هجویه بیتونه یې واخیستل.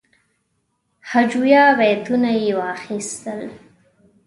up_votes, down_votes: 2, 0